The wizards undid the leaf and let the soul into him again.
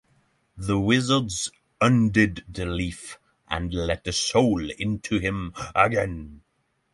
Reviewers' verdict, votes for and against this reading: accepted, 3, 0